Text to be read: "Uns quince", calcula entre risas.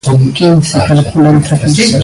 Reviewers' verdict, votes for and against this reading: rejected, 0, 2